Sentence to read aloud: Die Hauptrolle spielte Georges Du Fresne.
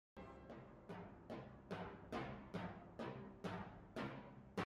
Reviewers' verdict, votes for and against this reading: rejected, 0, 2